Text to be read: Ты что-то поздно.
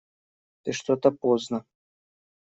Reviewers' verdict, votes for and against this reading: accepted, 2, 0